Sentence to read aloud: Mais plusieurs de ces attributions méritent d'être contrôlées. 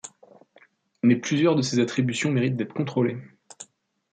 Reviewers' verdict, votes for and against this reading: accepted, 2, 0